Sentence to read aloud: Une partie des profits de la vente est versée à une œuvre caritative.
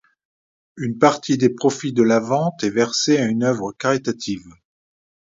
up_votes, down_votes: 2, 0